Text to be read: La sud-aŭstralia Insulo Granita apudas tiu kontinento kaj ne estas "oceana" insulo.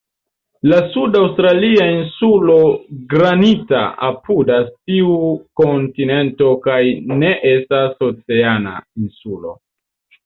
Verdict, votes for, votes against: accepted, 2, 1